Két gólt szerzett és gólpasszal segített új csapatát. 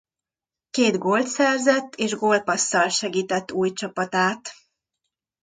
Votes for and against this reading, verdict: 2, 0, accepted